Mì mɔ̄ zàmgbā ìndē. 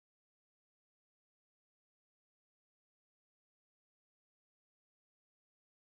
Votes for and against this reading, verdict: 0, 2, rejected